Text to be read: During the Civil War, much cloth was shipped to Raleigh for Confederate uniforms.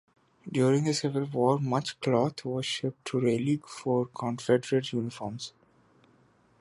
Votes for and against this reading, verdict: 1, 2, rejected